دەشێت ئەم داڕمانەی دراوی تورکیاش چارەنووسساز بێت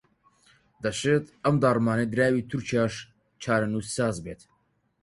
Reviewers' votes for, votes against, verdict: 4, 0, accepted